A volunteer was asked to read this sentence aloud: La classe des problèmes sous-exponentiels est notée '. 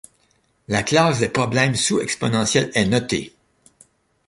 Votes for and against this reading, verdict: 2, 0, accepted